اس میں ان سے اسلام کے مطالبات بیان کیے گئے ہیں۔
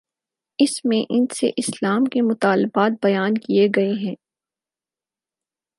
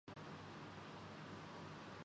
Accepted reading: first